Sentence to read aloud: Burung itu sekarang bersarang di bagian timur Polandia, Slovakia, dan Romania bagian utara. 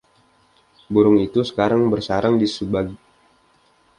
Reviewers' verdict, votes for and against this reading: rejected, 0, 2